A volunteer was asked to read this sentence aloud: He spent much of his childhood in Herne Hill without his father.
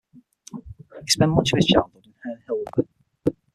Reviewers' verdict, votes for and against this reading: rejected, 0, 6